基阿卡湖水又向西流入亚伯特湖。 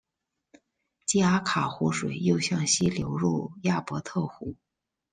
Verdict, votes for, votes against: accepted, 2, 0